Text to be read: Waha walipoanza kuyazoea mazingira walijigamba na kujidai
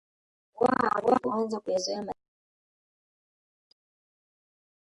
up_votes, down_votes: 0, 3